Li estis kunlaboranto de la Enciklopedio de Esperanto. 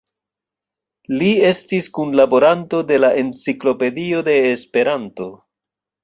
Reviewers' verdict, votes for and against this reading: rejected, 0, 2